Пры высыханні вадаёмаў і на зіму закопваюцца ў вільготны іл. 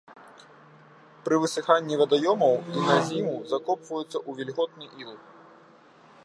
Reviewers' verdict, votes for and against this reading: rejected, 0, 2